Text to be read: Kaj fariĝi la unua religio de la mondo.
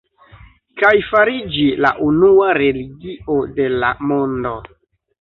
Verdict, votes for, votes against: rejected, 0, 2